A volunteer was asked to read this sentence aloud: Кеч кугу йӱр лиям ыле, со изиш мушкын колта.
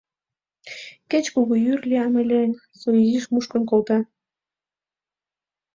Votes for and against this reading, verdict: 2, 0, accepted